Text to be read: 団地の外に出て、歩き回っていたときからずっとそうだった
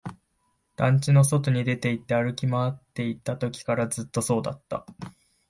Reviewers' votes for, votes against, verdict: 1, 2, rejected